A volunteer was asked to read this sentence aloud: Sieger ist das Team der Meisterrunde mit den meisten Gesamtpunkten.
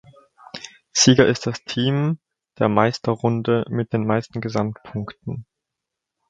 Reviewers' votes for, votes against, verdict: 2, 0, accepted